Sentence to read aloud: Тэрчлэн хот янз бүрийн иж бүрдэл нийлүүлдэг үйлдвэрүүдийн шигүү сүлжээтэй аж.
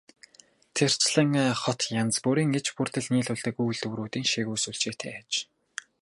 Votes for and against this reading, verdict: 2, 2, rejected